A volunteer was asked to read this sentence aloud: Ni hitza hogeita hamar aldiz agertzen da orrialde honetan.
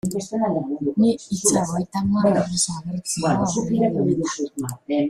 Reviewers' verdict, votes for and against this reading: rejected, 0, 3